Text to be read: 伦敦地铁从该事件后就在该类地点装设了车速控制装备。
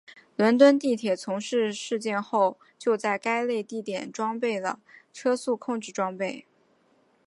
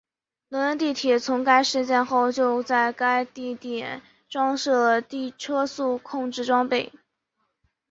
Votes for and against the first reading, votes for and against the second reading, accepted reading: 4, 0, 1, 4, first